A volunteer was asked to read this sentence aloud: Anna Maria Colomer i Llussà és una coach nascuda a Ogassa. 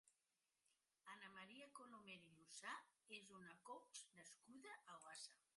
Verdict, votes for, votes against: rejected, 0, 2